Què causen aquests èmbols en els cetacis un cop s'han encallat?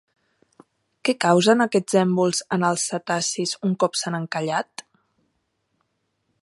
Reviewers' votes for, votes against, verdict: 3, 0, accepted